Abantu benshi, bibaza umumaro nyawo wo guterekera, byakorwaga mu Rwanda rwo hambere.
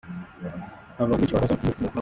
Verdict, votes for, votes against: rejected, 0, 2